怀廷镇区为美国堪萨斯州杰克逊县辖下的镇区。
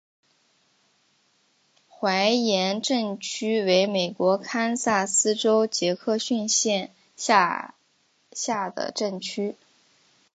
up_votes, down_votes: 6, 0